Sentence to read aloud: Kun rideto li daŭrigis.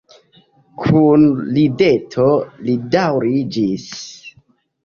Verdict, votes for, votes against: accepted, 2, 1